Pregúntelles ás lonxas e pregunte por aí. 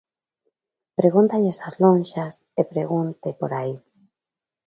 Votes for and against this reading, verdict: 1, 2, rejected